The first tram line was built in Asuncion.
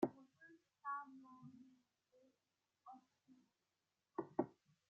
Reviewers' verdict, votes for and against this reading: rejected, 0, 2